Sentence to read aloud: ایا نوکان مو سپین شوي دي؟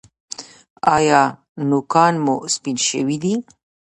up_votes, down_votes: 1, 2